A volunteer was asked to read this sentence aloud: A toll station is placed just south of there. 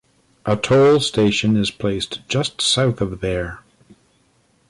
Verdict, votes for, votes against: rejected, 0, 2